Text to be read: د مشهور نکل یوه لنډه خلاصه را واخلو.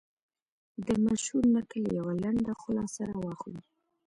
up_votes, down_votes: 3, 0